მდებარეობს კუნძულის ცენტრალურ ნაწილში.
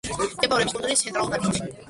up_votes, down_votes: 1, 2